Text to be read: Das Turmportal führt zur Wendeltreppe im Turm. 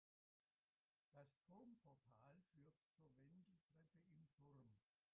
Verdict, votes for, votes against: rejected, 0, 2